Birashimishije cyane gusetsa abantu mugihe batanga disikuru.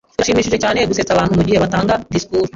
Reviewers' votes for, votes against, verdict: 2, 1, accepted